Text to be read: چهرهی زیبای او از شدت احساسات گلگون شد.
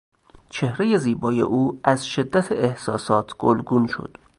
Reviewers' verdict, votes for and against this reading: accepted, 2, 0